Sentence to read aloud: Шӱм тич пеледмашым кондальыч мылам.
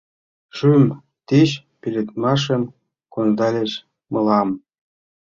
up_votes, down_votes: 0, 2